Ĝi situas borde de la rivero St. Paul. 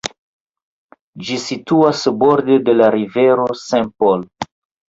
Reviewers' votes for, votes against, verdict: 0, 2, rejected